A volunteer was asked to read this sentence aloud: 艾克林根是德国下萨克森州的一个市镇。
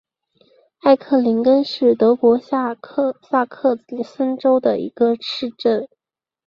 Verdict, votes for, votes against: rejected, 0, 3